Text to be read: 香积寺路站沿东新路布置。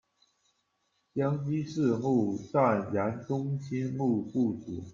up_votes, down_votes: 2, 1